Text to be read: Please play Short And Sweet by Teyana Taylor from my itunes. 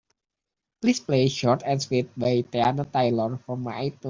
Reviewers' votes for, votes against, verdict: 2, 0, accepted